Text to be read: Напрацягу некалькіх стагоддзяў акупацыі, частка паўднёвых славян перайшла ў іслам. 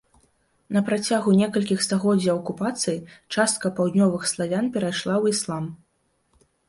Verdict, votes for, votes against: accepted, 2, 0